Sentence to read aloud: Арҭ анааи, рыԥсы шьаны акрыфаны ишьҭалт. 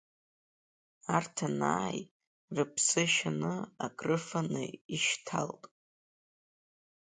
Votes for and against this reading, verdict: 2, 0, accepted